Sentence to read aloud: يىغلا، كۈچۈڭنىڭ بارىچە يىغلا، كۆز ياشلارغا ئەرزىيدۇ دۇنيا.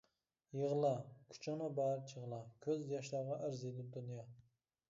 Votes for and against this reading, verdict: 0, 2, rejected